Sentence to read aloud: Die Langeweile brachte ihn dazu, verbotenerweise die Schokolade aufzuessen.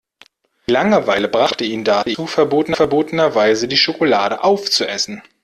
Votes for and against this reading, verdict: 0, 2, rejected